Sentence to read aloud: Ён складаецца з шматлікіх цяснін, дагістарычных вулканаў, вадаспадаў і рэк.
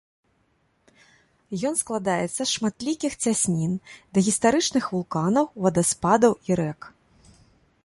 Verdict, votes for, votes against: accepted, 2, 0